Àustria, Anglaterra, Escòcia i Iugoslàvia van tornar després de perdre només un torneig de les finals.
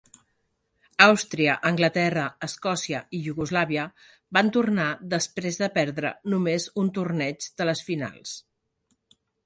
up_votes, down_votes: 3, 0